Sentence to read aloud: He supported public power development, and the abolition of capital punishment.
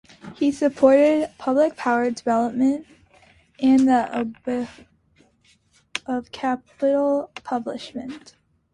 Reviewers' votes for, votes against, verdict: 0, 2, rejected